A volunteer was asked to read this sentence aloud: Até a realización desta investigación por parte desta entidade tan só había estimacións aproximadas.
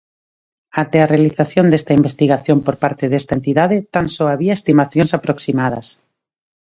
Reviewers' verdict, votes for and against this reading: accepted, 2, 0